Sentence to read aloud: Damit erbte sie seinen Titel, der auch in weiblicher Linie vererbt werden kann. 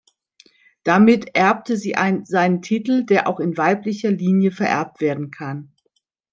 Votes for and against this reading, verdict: 0, 2, rejected